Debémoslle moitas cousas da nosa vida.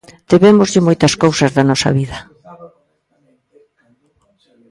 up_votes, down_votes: 1, 2